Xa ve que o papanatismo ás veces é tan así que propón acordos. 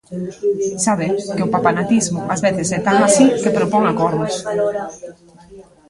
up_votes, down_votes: 0, 2